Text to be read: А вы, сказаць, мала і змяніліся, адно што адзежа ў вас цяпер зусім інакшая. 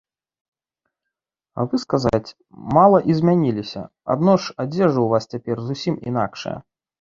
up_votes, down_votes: 1, 2